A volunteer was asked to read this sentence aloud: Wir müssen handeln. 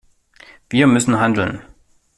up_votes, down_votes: 2, 0